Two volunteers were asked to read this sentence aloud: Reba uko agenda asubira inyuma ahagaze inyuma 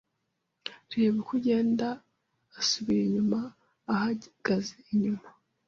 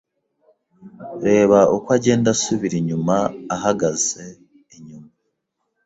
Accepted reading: second